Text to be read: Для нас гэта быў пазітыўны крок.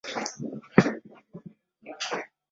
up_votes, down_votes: 0, 2